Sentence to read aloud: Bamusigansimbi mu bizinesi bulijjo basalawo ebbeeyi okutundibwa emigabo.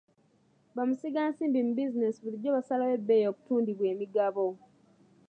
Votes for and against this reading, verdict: 0, 2, rejected